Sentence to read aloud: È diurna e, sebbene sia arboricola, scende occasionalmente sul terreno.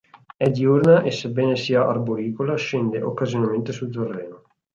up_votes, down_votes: 4, 0